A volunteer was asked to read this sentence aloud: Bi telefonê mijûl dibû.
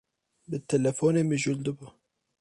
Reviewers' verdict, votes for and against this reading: rejected, 0, 2